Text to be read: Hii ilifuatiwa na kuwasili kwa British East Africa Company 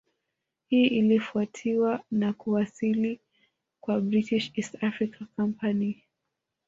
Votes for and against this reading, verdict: 1, 2, rejected